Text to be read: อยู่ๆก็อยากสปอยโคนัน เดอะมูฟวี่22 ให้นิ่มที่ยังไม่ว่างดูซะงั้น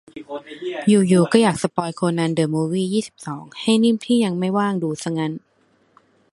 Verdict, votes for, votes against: rejected, 0, 2